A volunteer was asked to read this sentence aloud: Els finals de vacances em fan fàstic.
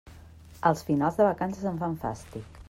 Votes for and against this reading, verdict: 2, 0, accepted